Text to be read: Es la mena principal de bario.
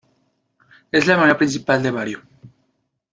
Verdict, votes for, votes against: rejected, 0, 2